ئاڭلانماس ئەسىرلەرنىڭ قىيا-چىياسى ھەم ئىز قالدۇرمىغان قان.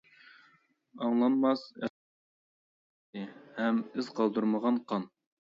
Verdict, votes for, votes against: rejected, 0, 2